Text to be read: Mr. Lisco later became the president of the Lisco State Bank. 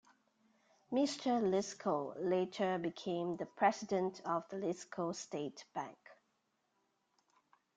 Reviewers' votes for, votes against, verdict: 2, 0, accepted